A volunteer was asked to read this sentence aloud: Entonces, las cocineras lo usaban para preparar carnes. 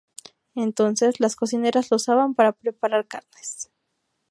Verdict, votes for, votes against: accepted, 2, 0